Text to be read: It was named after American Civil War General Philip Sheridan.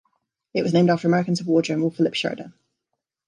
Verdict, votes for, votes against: rejected, 1, 2